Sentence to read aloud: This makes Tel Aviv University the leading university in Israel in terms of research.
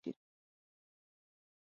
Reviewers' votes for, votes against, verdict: 0, 4, rejected